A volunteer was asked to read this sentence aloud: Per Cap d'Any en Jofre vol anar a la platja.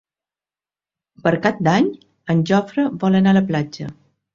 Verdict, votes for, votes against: accepted, 6, 0